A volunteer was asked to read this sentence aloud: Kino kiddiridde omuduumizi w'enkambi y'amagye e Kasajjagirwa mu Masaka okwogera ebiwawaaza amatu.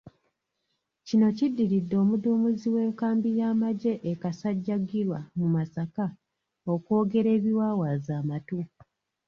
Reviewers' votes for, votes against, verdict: 1, 2, rejected